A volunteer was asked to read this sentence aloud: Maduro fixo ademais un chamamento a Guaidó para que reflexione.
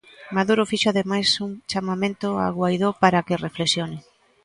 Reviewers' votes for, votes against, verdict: 2, 1, accepted